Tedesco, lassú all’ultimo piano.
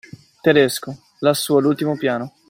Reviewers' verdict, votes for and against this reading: accepted, 2, 0